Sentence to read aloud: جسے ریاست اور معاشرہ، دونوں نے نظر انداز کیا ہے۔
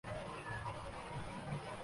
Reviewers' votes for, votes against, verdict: 0, 2, rejected